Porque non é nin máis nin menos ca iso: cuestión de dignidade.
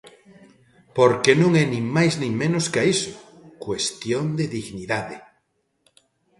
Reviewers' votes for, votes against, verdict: 2, 0, accepted